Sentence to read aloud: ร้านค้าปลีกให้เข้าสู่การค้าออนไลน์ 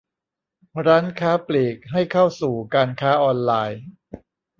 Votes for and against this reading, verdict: 2, 0, accepted